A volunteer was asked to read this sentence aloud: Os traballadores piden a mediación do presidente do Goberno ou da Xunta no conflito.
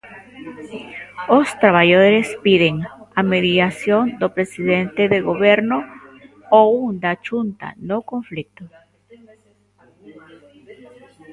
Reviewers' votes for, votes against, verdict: 0, 2, rejected